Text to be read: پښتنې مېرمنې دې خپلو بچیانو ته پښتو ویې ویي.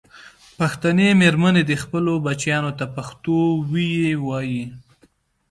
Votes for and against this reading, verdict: 2, 0, accepted